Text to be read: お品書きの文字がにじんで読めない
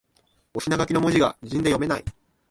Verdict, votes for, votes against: rejected, 2, 3